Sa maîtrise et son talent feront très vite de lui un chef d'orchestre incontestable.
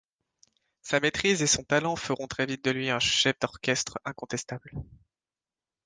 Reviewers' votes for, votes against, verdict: 2, 0, accepted